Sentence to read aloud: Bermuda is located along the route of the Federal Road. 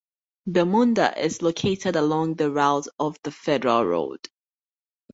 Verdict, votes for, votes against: rejected, 0, 2